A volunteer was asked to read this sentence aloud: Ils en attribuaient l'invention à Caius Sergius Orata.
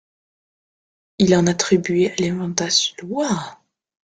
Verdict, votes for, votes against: rejected, 0, 2